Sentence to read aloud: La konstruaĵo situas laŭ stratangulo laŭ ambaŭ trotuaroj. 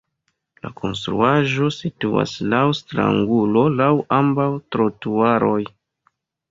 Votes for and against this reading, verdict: 2, 1, accepted